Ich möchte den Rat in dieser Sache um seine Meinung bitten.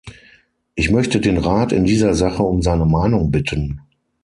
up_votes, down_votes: 6, 0